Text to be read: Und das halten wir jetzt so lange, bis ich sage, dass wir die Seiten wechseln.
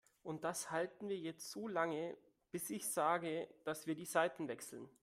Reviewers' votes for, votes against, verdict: 2, 0, accepted